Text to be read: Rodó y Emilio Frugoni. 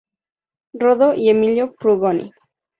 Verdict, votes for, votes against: accepted, 2, 0